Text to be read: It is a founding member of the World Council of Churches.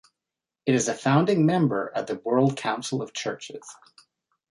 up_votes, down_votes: 3, 0